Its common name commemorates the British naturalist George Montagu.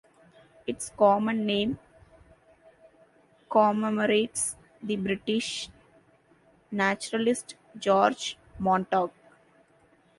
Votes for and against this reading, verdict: 1, 2, rejected